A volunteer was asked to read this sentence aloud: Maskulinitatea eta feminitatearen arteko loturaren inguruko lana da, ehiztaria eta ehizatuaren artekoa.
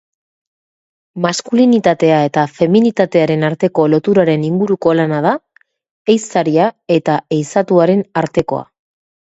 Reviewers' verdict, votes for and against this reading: accepted, 5, 0